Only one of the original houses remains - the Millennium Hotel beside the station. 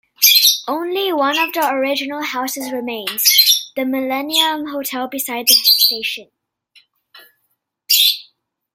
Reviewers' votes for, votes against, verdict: 1, 2, rejected